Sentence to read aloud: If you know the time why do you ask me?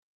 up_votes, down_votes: 0, 2